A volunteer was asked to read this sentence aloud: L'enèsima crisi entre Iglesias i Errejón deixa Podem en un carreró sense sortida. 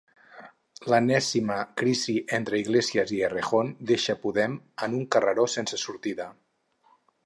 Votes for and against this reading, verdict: 2, 2, rejected